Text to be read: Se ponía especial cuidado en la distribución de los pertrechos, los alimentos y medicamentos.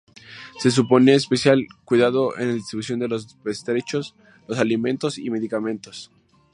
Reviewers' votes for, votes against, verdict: 2, 2, rejected